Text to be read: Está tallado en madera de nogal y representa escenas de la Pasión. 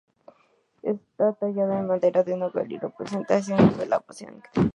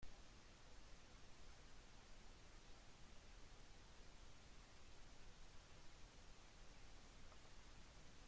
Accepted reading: first